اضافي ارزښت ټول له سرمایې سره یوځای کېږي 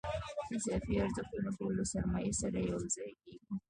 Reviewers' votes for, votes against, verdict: 2, 1, accepted